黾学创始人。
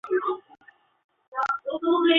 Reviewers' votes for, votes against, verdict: 1, 2, rejected